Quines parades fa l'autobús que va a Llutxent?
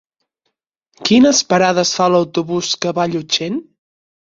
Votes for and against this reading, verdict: 6, 0, accepted